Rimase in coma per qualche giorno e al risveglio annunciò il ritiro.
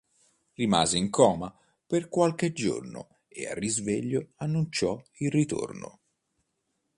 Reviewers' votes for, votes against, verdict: 0, 2, rejected